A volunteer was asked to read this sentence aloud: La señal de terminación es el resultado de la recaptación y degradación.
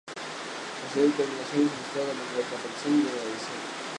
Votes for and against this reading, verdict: 0, 2, rejected